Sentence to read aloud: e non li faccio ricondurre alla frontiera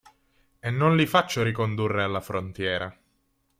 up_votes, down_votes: 3, 0